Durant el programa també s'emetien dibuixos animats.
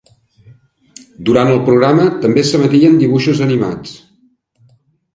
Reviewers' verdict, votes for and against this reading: accepted, 4, 0